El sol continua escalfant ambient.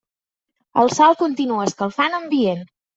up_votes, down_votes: 3, 0